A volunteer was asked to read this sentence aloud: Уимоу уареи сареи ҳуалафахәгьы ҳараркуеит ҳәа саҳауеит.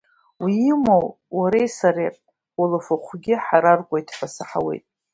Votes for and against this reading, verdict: 2, 0, accepted